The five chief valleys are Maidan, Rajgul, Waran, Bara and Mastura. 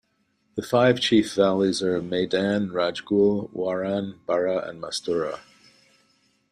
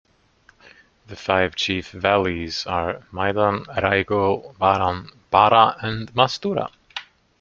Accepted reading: first